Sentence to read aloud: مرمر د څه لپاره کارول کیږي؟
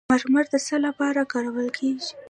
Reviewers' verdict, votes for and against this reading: rejected, 0, 2